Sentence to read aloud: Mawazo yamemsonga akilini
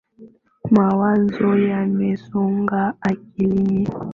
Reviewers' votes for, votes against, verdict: 6, 5, accepted